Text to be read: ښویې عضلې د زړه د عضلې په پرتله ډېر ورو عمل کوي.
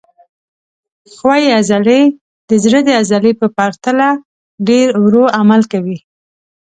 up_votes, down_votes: 2, 0